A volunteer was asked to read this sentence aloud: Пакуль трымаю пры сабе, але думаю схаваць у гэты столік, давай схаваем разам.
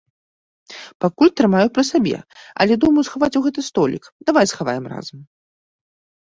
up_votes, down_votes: 2, 0